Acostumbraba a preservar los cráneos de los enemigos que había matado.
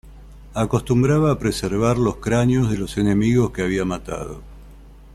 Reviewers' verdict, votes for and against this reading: accepted, 2, 0